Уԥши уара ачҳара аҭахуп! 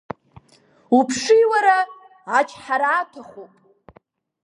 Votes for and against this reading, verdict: 1, 2, rejected